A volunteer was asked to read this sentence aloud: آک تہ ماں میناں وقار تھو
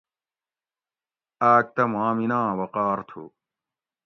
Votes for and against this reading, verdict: 2, 0, accepted